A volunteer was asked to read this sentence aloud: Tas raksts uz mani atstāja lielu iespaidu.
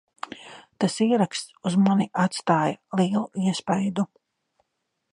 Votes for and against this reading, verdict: 0, 2, rejected